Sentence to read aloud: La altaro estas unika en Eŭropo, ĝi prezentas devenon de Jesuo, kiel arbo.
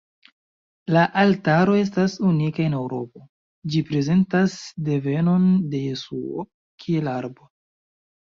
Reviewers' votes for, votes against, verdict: 2, 0, accepted